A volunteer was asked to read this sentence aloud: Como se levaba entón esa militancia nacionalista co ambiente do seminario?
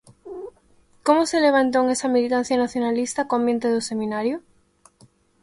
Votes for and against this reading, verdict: 1, 2, rejected